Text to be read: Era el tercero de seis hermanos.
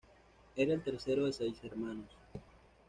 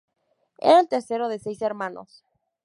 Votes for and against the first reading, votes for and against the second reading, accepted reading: 0, 2, 2, 0, second